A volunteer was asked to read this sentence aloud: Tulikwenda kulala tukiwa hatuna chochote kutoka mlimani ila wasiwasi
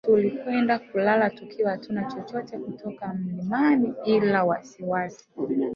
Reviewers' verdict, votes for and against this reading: rejected, 1, 2